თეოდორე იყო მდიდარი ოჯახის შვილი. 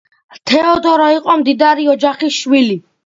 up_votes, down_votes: 2, 0